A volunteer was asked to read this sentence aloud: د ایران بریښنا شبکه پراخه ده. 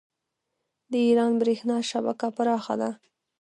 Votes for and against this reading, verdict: 2, 1, accepted